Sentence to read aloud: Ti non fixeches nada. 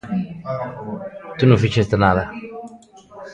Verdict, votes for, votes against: rejected, 0, 2